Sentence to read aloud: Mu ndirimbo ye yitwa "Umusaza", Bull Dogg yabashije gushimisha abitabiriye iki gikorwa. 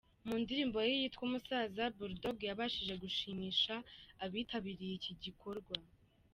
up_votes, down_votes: 2, 0